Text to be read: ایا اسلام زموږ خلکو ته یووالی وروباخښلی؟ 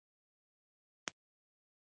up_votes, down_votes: 0, 2